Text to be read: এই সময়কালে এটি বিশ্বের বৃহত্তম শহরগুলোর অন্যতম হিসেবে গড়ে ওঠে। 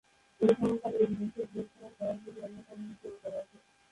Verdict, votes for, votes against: rejected, 0, 2